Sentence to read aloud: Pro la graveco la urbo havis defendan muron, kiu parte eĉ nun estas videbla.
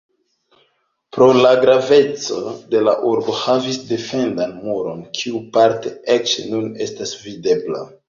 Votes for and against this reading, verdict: 2, 0, accepted